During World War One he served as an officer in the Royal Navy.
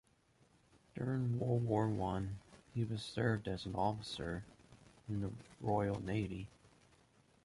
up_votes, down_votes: 2, 0